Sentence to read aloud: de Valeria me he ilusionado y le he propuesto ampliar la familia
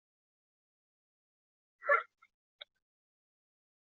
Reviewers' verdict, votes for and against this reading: rejected, 0, 2